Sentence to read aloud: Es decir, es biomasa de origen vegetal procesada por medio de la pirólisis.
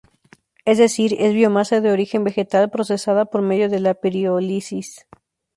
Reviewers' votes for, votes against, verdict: 0, 2, rejected